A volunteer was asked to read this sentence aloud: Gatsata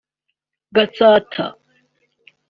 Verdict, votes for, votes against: accepted, 2, 0